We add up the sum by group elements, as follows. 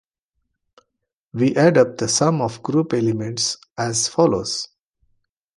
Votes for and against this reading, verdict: 1, 2, rejected